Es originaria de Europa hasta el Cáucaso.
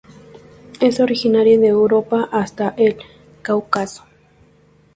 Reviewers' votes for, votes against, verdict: 0, 2, rejected